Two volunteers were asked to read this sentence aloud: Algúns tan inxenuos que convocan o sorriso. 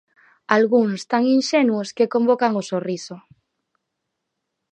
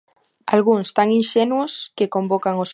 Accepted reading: first